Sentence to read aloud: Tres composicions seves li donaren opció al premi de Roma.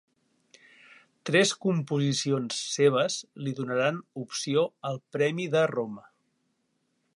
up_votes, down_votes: 1, 3